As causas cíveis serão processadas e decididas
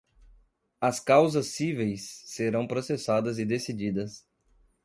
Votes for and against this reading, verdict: 2, 0, accepted